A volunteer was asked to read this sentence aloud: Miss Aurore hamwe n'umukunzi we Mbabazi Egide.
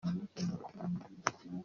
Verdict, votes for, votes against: rejected, 0, 2